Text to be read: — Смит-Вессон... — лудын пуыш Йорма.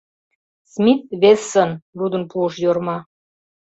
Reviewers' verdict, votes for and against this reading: accepted, 2, 0